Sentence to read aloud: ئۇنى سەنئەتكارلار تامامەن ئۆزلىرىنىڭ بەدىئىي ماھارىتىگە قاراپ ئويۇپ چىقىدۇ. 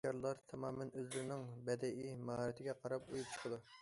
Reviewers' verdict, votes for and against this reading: rejected, 0, 2